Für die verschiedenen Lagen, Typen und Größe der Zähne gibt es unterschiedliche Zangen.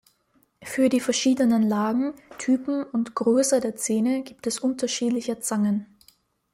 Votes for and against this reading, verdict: 2, 0, accepted